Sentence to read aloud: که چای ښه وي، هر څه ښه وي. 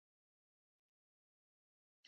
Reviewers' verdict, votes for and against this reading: rejected, 0, 2